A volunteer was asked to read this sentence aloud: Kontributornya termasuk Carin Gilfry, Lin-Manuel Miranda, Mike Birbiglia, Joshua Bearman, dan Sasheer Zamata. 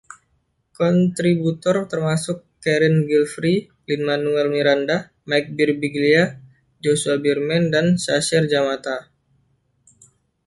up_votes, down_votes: 1, 2